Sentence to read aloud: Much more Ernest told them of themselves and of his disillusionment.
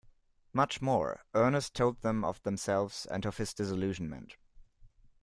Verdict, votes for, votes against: accepted, 2, 0